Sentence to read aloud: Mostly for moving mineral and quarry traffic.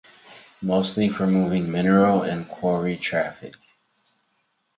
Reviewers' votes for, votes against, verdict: 4, 0, accepted